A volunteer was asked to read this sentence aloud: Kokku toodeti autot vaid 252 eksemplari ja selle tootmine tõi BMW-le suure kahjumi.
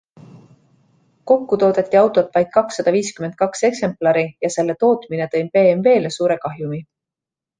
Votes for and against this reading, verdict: 0, 2, rejected